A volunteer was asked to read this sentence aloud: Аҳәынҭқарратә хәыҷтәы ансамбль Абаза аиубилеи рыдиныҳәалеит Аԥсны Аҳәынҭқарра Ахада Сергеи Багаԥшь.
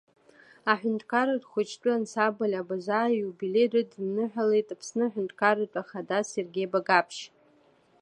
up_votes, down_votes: 1, 2